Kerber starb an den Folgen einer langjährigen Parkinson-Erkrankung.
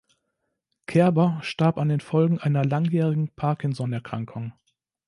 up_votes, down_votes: 2, 0